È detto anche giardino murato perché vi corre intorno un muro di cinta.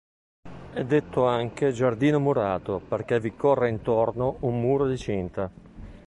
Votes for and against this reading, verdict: 2, 0, accepted